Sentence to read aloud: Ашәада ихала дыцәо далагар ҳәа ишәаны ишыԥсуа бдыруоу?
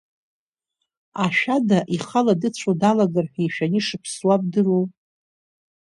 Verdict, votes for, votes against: accepted, 2, 0